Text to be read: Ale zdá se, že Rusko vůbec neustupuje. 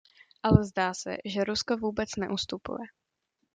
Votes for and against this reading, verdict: 2, 0, accepted